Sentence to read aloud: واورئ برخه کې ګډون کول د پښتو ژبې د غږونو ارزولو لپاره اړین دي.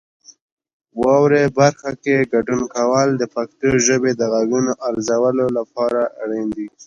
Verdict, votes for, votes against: accepted, 2, 0